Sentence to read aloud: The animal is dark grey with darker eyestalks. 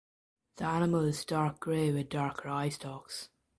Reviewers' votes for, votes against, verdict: 2, 1, accepted